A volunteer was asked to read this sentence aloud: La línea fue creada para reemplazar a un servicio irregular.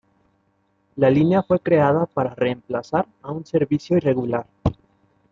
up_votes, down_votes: 2, 0